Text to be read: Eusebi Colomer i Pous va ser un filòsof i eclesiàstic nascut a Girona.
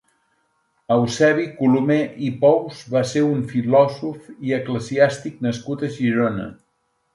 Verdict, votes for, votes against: accepted, 3, 0